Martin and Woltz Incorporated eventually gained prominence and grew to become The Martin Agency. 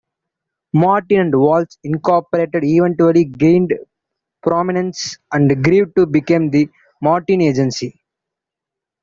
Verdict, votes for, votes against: accepted, 2, 0